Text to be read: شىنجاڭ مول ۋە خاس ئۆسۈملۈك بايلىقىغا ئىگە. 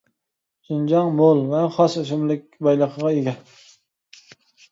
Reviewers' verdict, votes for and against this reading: accepted, 2, 1